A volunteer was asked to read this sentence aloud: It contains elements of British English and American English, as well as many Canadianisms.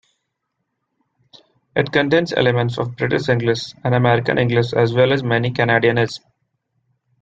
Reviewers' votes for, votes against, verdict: 1, 2, rejected